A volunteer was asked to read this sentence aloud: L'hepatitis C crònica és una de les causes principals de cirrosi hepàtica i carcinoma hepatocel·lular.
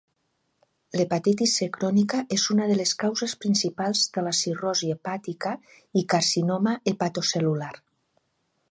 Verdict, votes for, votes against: rejected, 1, 2